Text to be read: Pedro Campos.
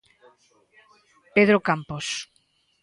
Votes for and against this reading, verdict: 2, 0, accepted